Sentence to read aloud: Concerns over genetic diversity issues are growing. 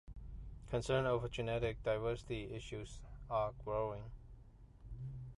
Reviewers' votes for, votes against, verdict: 2, 1, accepted